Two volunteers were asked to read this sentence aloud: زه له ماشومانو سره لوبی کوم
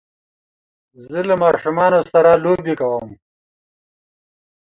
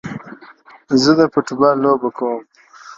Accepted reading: first